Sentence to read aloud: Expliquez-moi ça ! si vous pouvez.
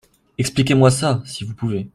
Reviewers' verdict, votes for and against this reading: accepted, 2, 0